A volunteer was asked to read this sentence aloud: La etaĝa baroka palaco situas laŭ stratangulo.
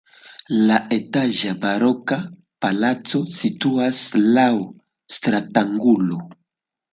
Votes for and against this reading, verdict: 2, 0, accepted